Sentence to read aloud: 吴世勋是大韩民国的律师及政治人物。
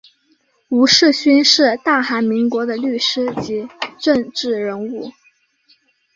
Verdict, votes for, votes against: rejected, 1, 2